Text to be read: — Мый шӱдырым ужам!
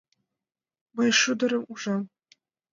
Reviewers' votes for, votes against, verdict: 0, 2, rejected